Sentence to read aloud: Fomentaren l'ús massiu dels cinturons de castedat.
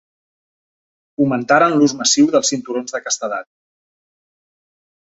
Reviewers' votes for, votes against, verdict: 4, 0, accepted